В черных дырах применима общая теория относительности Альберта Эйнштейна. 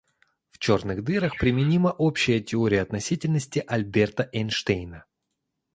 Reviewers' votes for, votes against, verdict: 2, 0, accepted